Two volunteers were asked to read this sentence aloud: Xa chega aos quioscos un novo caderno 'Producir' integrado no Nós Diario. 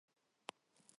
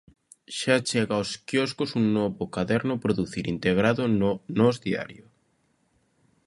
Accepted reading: second